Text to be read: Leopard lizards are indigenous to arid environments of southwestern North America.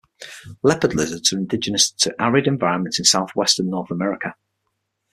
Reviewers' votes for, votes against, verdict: 6, 0, accepted